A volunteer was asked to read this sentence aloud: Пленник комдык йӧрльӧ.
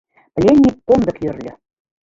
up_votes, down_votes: 0, 2